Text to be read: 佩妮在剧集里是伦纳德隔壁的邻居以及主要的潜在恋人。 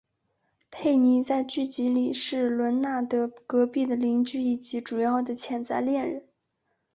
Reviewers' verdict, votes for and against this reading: accepted, 2, 0